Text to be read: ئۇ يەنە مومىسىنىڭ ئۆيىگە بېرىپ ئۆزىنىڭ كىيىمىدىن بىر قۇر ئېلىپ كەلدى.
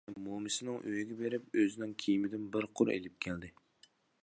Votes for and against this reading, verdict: 1, 2, rejected